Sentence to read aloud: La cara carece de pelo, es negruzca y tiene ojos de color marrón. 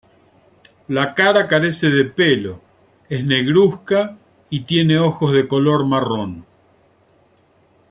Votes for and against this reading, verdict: 1, 2, rejected